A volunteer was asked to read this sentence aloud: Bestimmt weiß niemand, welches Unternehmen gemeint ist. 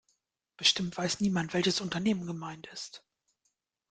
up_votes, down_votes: 2, 0